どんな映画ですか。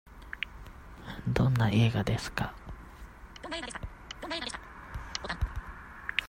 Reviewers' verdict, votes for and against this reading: accepted, 2, 0